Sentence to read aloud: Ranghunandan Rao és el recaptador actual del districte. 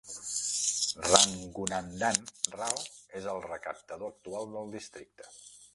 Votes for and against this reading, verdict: 0, 2, rejected